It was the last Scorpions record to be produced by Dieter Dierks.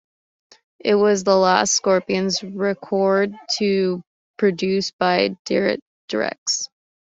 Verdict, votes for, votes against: rejected, 1, 2